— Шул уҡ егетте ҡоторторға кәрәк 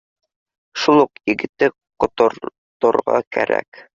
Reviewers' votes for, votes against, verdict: 0, 2, rejected